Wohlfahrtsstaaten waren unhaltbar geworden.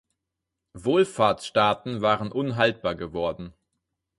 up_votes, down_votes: 4, 0